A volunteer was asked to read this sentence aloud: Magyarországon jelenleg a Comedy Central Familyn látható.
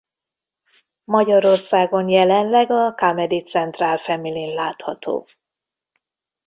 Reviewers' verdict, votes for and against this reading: accepted, 2, 0